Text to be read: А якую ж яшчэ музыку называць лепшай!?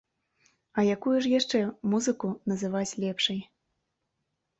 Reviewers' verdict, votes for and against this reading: accepted, 2, 0